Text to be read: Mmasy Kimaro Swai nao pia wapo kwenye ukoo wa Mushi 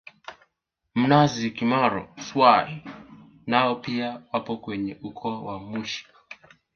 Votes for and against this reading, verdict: 2, 1, accepted